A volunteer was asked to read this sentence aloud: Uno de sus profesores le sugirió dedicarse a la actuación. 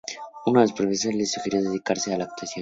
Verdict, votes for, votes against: rejected, 0, 4